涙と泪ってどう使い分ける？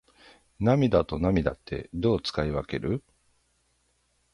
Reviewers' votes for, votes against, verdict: 3, 6, rejected